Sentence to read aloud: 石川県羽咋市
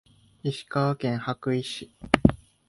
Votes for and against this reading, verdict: 2, 0, accepted